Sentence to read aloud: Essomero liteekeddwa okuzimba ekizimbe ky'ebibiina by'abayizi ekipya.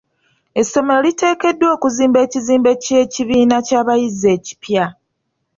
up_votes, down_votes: 1, 2